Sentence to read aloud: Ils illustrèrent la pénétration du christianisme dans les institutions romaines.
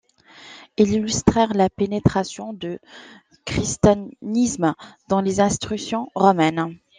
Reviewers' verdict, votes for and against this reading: rejected, 1, 2